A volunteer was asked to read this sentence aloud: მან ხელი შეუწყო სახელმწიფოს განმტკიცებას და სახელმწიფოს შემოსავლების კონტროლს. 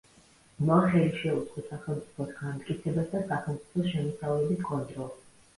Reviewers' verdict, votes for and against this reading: rejected, 1, 2